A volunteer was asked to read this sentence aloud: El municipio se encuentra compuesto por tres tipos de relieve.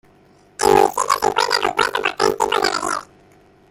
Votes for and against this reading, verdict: 0, 2, rejected